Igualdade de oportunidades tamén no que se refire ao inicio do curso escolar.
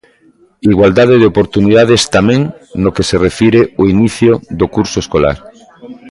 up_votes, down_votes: 2, 0